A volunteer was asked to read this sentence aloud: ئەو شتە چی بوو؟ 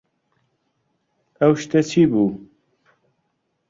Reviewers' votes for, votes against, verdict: 2, 0, accepted